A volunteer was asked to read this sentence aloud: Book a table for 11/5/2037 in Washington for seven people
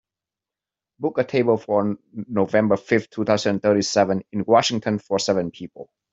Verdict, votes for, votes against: rejected, 0, 2